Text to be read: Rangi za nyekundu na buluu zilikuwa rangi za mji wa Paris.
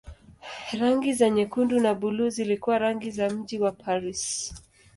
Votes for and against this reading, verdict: 2, 0, accepted